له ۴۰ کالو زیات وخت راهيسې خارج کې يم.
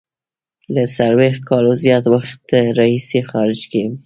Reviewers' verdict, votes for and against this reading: rejected, 0, 2